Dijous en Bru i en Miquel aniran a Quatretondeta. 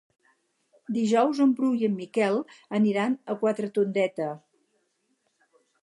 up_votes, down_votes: 4, 0